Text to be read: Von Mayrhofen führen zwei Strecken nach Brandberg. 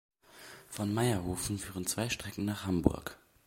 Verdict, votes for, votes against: rejected, 1, 2